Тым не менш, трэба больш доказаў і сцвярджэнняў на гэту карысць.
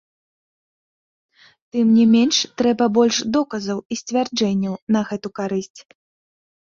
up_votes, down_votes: 1, 2